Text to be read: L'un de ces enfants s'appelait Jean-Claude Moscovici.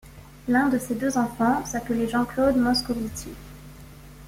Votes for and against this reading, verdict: 1, 2, rejected